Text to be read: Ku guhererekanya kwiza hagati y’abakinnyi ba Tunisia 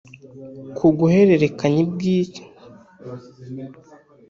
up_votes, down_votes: 0, 2